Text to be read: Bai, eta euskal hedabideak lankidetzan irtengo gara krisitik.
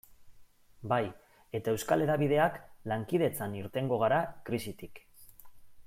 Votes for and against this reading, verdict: 3, 0, accepted